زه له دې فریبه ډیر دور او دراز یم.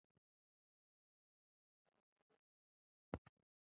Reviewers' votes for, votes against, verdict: 0, 2, rejected